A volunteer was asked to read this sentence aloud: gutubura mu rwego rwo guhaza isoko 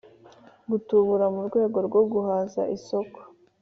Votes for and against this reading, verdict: 2, 0, accepted